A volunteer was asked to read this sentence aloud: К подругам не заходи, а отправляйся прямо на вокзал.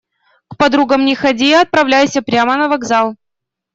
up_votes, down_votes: 0, 2